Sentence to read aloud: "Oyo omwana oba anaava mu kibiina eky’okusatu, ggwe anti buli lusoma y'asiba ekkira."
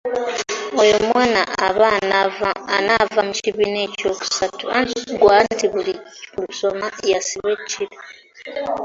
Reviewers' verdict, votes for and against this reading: rejected, 0, 2